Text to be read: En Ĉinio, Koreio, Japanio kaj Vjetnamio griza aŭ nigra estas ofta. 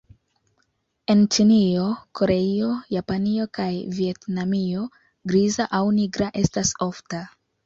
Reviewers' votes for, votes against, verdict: 2, 0, accepted